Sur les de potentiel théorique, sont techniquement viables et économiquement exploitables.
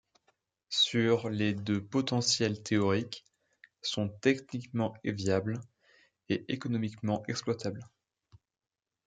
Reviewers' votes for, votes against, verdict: 1, 2, rejected